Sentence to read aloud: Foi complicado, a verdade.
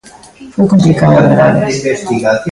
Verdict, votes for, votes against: rejected, 0, 2